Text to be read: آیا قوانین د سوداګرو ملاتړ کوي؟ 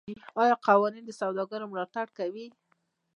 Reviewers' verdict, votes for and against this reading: rejected, 0, 2